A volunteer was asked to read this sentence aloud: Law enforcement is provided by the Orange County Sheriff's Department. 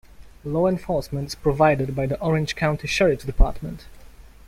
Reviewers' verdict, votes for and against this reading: rejected, 1, 2